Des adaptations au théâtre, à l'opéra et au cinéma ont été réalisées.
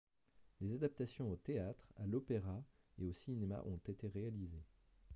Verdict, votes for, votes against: accepted, 2, 0